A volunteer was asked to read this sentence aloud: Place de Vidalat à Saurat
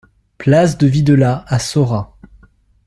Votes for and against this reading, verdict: 1, 2, rejected